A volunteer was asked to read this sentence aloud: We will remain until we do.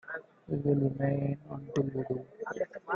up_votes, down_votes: 1, 2